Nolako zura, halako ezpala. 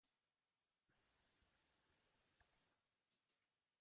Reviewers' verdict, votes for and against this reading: rejected, 0, 2